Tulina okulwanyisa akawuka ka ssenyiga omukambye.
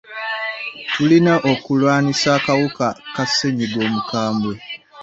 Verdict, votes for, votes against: rejected, 1, 2